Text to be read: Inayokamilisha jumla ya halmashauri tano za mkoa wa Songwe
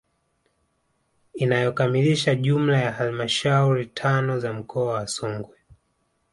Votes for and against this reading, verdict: 0, 2, rejected